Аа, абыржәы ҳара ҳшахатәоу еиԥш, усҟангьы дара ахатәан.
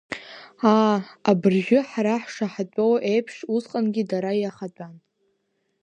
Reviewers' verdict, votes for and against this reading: rejected, 1, 2